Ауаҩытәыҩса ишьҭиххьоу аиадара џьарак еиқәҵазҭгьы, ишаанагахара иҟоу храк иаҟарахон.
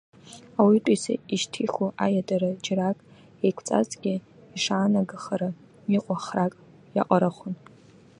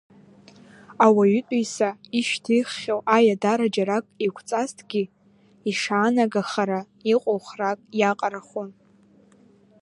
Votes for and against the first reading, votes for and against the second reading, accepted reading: 0, 2, 2, 0, second